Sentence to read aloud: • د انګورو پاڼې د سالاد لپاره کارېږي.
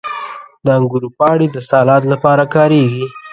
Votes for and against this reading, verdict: 0, 2, rejected